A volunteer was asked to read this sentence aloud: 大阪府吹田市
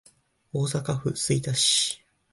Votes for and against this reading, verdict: 2, 0, accepted